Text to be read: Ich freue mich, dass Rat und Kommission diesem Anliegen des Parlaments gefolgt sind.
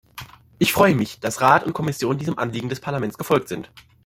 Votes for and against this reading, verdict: 2, 0, accepted